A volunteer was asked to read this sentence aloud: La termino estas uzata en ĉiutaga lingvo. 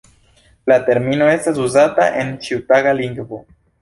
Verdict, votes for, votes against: accepted, 2, 1